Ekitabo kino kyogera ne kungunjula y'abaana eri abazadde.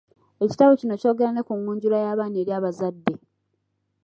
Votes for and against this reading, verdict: 2, 0, accepted